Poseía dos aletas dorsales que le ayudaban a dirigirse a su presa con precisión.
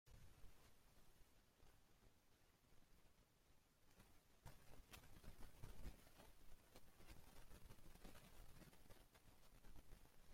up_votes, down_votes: 0, 2